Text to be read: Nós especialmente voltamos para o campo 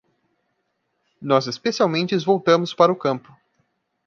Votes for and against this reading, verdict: 0, 2, rejected